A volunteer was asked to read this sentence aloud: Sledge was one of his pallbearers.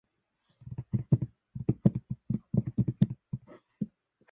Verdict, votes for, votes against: rejected, 0, 2